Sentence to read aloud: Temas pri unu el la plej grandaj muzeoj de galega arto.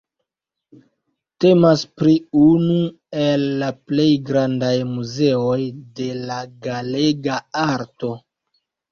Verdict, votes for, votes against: rejected, 1, 2